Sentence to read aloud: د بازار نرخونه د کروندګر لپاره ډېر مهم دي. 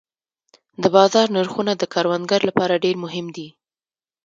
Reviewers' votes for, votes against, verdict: 2, 0, accepted